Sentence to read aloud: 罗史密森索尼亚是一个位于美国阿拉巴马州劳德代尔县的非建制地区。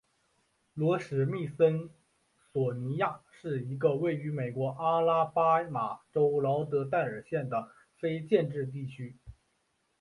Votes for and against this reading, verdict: 2, 1, accepted